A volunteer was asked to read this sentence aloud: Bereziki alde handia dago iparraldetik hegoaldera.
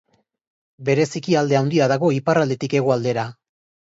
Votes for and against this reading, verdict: 3, 0, accepted